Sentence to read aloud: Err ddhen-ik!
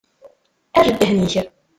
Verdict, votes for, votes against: rejected, 0, 2